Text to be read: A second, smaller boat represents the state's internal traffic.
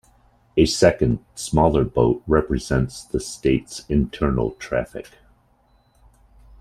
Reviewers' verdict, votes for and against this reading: accepted, 2, 0